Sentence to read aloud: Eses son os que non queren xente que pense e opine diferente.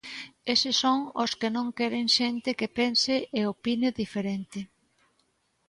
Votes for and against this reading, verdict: 2, 0, accepted